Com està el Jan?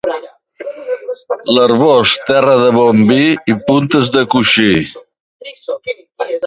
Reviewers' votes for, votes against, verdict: 0, 2, rejected